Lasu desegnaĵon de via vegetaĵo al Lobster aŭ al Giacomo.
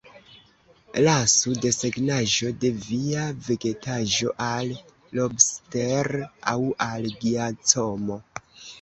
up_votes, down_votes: 2, 0